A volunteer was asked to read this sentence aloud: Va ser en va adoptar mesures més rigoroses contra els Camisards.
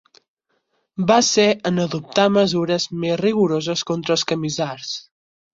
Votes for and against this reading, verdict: 0, 4, rejected